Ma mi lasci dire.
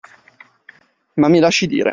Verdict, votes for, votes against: accepted, 2, 0